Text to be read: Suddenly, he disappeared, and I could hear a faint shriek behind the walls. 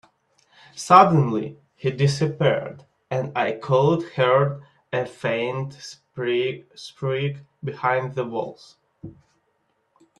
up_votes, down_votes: 3, 1